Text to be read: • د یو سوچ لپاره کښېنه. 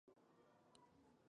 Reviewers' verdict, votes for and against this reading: rejected, 0, 2